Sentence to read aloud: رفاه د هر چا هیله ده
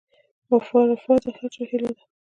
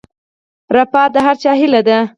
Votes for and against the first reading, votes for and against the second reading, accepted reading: 2, 1, 0, 4, first